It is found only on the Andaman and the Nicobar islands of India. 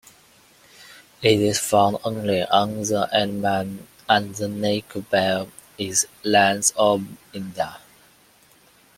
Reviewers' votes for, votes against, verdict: 0, 2, rejected